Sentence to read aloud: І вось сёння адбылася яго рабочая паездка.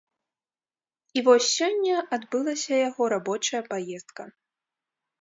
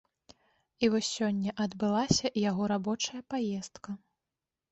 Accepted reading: second